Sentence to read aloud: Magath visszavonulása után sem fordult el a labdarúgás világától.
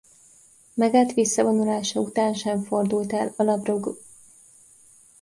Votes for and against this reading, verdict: 0, 2, rejected